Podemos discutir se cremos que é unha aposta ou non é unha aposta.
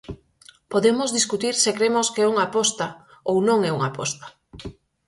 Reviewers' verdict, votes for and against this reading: accepted, 4, 0